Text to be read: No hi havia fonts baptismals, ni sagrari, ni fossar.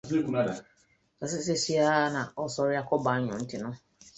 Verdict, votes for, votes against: rejected, 0, 2